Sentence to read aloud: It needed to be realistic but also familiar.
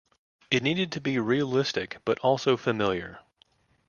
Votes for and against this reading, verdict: 2, 0, accepted